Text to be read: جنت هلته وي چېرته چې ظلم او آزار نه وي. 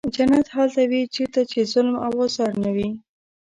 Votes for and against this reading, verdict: 2, 0, accepted